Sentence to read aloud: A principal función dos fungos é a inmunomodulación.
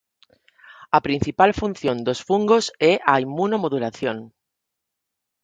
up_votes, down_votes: 4, 0